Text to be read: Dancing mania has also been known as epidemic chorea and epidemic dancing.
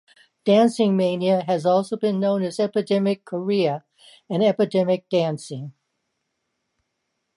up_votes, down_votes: 2, 0